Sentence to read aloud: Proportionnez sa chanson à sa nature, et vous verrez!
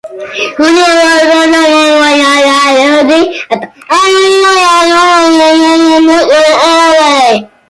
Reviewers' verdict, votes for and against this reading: rejected, 0, 2